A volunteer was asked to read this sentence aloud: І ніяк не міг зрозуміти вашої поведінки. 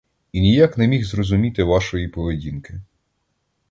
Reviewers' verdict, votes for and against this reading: accepted, 2, 0